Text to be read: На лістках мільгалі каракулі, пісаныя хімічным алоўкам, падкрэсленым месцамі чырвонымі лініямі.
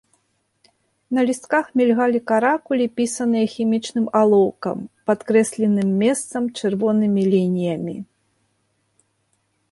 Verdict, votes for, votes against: rejected, 0, 2